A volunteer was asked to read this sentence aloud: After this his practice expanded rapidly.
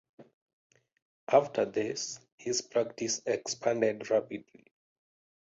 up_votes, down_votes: 0, 2